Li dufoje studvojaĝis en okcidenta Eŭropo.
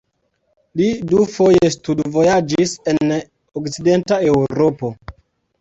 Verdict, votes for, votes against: accepted, 2, 0